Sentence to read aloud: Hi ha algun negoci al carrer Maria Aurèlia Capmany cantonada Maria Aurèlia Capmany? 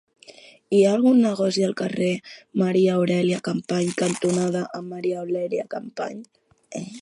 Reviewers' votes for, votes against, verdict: 1, 2, rejected